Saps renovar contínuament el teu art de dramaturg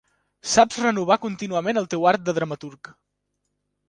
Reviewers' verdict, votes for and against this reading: accepted, 3, 0